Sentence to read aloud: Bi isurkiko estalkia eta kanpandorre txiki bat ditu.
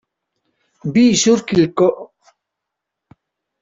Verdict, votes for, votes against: rejected, 0, 2